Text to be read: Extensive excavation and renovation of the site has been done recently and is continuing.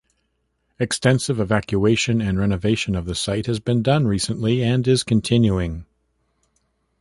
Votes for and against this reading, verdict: 1, 2, rejected